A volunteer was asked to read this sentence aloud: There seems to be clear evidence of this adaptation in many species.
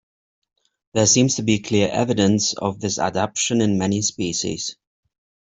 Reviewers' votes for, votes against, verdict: 1, 2, rejected